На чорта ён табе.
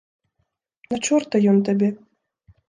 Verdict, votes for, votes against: accepted, 2, 0